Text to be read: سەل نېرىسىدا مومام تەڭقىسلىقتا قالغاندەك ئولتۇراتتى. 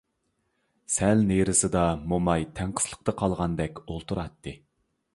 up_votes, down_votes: 0, 2